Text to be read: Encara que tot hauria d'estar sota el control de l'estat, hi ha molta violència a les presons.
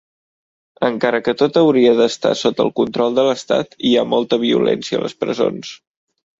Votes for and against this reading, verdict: 3, 0, accepted